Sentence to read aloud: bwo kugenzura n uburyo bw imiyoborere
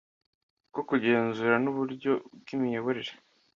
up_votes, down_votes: 2, 0